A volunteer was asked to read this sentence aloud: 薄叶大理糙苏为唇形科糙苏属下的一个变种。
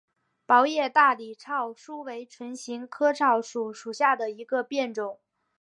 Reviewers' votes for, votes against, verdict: 2, 1, accepted